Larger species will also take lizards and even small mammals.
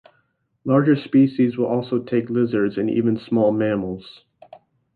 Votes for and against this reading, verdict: 3, 0, accepted